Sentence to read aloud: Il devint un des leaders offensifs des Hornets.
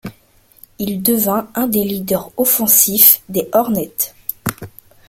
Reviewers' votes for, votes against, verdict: 1, 2, rejected